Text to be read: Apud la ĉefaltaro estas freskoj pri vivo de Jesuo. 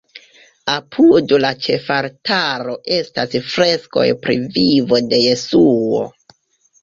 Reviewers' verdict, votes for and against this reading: rejected, 0, 3